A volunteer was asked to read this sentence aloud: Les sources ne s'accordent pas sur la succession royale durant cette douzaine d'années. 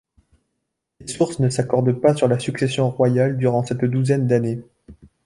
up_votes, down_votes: 0, 2